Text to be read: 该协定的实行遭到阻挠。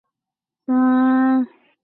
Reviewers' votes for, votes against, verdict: 1, 4, rejected